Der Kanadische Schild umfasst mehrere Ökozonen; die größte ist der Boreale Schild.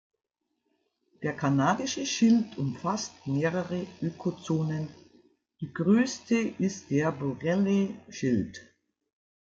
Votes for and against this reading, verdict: 0, 2, rejected